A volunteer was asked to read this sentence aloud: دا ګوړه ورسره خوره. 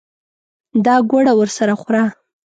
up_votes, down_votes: 2, 0